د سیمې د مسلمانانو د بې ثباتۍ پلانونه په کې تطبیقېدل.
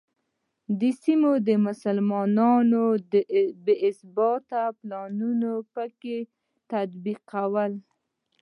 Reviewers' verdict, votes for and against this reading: rejected, 0, 2